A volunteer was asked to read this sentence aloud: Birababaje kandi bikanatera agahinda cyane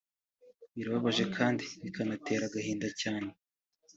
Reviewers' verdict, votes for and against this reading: accepted, 3, 0